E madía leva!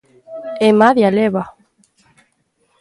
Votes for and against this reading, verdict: 0, 2, rejected